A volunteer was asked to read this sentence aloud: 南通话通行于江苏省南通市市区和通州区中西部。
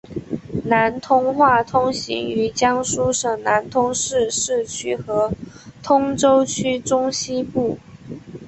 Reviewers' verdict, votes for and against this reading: accepted, 2, 1